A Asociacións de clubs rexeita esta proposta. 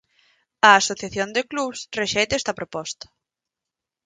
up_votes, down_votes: 0, 2